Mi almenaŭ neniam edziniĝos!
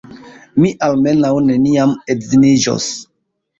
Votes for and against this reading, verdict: 2, 0, accepted